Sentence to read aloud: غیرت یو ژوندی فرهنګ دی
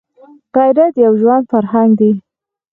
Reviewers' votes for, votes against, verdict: 4, 2, accepted